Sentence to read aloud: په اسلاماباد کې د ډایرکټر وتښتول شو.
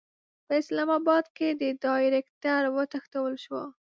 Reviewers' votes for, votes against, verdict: 2, 0, accepted